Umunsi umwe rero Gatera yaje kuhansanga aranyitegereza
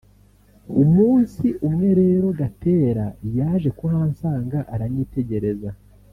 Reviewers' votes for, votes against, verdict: 2, 0, accepted